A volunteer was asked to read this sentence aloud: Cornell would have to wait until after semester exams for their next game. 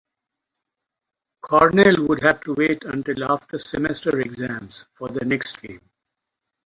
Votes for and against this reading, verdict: 4, 0, accepted